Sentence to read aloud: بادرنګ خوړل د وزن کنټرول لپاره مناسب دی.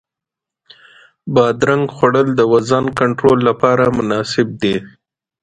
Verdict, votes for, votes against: accepted, 2, 0